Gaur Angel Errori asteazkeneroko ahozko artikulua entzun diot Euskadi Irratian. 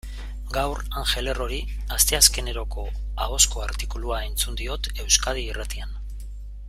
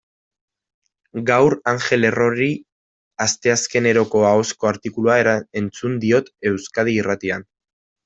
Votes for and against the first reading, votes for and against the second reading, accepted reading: 2, 0, 0, 2, first